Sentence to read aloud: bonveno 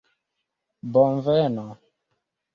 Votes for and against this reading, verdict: 2, 0, accepted